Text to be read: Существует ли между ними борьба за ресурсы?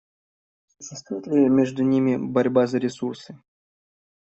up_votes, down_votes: 0, 2